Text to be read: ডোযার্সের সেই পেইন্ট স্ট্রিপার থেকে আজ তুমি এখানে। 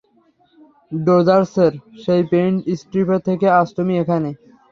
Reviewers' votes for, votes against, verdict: 3, 0, accepted